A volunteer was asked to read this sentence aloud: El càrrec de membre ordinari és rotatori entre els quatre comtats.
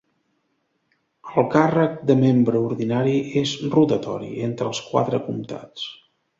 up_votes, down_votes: 2, 0